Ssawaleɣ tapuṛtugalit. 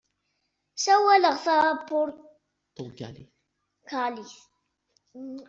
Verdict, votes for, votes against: rejected, 1, 2